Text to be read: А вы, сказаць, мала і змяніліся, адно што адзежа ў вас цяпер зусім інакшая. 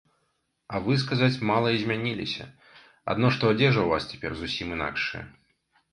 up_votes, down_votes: 2, 0